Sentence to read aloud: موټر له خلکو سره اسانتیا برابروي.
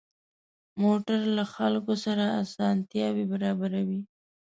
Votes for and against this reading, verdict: 1, 2, rejected